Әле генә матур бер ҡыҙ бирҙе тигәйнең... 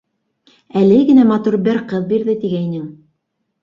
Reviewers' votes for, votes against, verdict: 2, 0, accepted